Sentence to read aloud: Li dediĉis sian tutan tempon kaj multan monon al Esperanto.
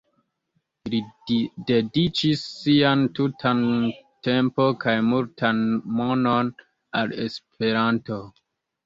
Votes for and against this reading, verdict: 1, 2, rejected